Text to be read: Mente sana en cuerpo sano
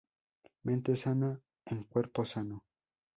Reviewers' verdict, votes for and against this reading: accepted, 2, 0